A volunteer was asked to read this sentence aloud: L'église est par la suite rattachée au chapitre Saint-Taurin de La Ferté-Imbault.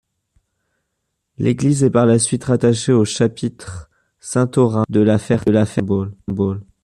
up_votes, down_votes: 0, 2